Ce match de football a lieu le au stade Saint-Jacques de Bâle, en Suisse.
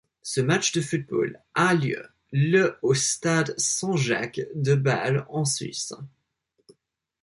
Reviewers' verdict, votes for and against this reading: accepted, 2, 0